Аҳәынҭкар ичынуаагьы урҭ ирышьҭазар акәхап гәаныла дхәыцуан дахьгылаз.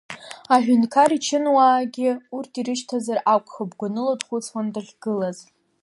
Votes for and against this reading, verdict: 0, 2, rejected